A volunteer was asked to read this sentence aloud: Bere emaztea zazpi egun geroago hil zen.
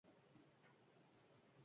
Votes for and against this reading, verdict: 0, 4, rejected